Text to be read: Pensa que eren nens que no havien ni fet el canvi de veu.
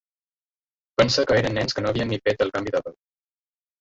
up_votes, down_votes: 2, 1